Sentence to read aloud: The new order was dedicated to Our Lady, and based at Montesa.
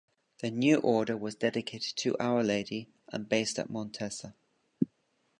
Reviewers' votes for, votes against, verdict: 2, 1, accepted